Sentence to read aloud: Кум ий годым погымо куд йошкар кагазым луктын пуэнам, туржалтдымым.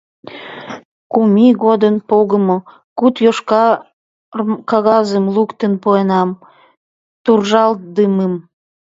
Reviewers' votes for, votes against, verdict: 1, 2, rejected